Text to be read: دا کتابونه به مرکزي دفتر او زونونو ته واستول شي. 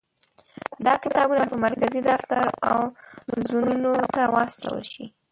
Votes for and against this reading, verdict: 1, 2, rejected